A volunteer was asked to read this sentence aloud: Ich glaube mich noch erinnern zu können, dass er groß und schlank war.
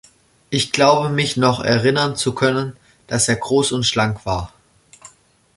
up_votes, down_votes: 2, 0